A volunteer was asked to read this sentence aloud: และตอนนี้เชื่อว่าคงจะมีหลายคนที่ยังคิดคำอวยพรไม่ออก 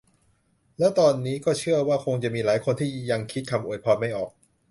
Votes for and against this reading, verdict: 0, 2, rejected